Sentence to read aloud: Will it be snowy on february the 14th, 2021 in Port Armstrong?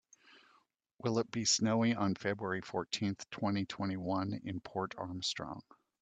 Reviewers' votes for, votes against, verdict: 0, 2, rejected